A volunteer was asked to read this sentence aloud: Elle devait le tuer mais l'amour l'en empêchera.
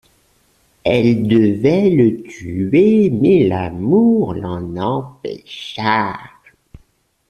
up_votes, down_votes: 1, 2